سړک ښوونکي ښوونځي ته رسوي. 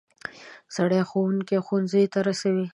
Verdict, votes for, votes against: rejected, 0, 2